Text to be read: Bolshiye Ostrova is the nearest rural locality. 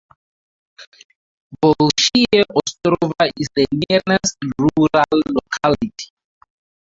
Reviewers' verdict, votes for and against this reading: rejected, 2, 2